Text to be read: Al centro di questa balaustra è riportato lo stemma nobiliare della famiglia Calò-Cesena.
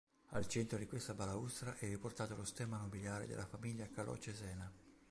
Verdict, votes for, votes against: accepted, 2, 0